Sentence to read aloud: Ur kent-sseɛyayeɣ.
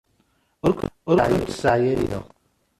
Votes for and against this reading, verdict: 0, 2, rejected